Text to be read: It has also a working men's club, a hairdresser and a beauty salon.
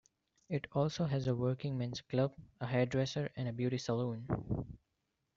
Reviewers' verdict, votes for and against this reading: accepted, 2, 1